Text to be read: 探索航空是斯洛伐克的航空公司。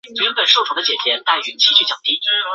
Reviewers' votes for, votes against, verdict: 3, 5, rejected